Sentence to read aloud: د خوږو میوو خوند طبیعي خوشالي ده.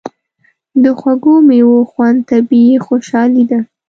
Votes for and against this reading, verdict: 2, 0, accepted